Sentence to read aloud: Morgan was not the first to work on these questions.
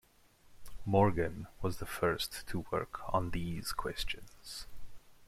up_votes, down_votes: 1, 2